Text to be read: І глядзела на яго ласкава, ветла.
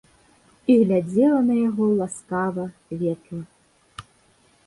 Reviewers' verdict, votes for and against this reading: accepted, 2, 0